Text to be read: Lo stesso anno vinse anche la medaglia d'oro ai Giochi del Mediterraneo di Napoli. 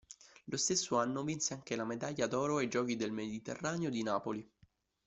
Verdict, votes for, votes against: accepted, 2, 0